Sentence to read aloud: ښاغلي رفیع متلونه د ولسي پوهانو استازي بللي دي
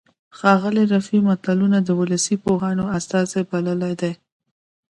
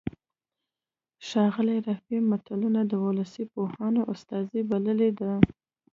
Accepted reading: second